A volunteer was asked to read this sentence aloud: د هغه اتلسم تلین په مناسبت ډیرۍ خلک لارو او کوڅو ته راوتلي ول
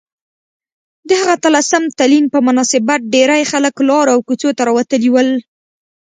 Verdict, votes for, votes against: accepted, 2, 0